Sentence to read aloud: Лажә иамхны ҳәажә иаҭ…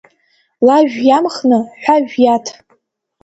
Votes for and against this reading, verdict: 2, 0, accepted